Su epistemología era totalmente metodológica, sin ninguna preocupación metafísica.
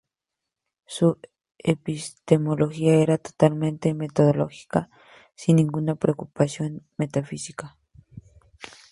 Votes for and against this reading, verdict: 0, 2, rejected